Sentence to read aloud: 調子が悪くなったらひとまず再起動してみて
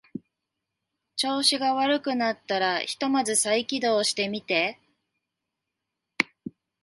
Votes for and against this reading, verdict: 2, 0, accepted